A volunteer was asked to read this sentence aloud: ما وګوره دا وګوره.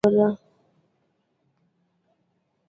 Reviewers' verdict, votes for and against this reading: rejected, 0, 2